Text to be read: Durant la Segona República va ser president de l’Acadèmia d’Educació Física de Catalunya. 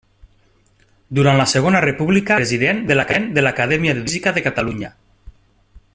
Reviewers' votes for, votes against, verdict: 0, 2, rejected